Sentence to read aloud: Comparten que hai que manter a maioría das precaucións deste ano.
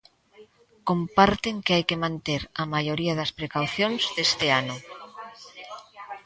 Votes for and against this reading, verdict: 2, 1, accepted